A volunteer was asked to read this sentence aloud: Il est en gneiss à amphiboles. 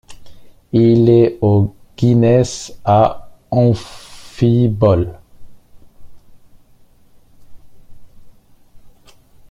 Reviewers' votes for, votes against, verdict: 0, 2, rejected